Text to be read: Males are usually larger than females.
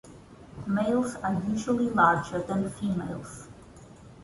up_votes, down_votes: 2, 0